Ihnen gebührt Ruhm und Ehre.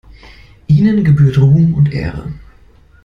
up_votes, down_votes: 2, 0